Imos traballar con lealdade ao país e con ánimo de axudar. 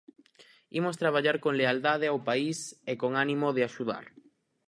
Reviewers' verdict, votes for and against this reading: accepted, 4, 0